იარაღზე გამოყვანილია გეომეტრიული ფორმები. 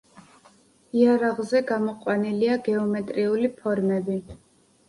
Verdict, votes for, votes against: accepted, 2, 0